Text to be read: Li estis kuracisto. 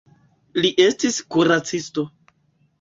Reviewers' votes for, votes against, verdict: 3, 0, accepted